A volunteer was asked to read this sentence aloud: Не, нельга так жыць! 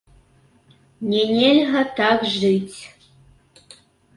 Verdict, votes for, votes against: rejected, 1, 2